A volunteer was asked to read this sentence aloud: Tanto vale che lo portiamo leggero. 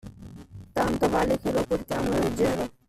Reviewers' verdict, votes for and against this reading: rejected, 1, 2